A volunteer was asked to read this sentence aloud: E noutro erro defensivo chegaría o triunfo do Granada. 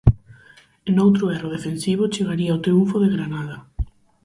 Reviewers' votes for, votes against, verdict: 2, 4, rejected